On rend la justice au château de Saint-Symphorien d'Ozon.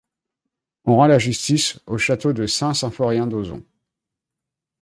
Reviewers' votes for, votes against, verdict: 2, 0, accepted